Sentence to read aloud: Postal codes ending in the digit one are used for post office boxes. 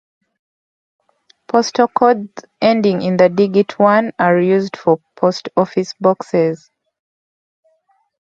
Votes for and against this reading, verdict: 2, 0, accepted